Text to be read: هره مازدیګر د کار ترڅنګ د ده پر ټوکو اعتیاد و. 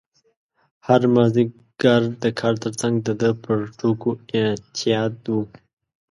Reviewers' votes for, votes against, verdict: 2, 1, accepted